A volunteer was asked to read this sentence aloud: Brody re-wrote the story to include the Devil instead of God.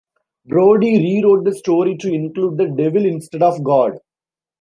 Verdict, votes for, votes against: accepted, 2, 0